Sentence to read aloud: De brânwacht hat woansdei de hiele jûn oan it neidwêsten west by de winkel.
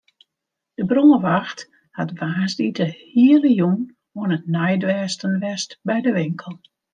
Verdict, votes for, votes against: accepted, 2, 0